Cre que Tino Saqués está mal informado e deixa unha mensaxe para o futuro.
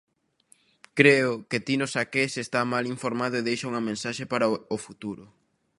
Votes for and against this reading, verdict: 0, 2, rejected